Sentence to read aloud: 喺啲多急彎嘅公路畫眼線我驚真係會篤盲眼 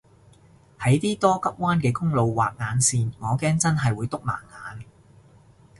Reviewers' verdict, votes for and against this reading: accepted, 2, 0